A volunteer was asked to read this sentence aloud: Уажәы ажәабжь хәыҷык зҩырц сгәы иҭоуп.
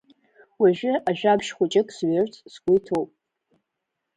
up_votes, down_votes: 3, 0